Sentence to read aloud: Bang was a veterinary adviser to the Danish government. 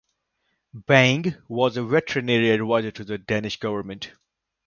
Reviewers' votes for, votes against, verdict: 0, 2, rejected